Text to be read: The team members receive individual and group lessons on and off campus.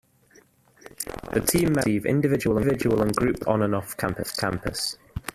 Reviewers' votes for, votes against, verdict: 0, 2, rejected